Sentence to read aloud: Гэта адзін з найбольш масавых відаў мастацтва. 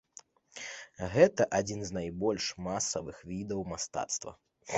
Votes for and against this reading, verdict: 3, 0, accepted